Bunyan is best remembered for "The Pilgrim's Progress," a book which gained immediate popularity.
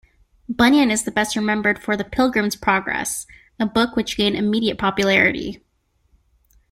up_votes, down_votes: 0, 2